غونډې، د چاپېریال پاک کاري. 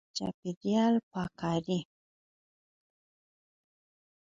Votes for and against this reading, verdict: 2, 4, rejected